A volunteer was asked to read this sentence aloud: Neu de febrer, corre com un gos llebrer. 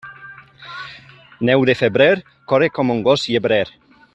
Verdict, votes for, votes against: rejected, 0, 2